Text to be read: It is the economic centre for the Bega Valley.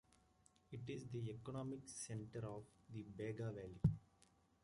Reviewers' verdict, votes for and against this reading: rejected, 1, 2